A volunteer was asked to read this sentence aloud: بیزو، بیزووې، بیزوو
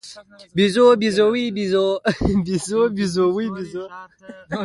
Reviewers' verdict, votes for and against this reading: accepted, 2, 0